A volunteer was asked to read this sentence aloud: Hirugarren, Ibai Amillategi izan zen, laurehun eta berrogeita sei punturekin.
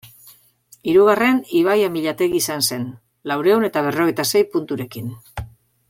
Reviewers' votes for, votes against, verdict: 2, 0, accepted